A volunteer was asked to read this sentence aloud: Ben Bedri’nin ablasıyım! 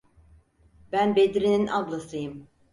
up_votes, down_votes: 4, 0